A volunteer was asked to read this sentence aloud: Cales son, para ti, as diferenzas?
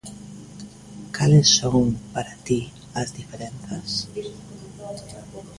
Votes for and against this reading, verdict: 2, 0, accepted